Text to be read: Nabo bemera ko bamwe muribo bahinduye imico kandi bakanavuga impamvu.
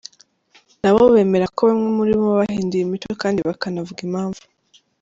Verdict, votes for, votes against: accepted, 2, 0